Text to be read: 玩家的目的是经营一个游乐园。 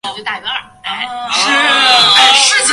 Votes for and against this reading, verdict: 0, 2, rejected